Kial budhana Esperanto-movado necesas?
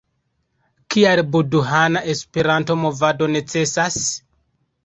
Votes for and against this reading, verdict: 2, 0, accepted